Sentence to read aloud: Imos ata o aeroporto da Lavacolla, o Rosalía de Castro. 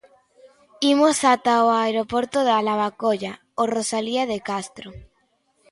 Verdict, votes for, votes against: accepted, 2, 0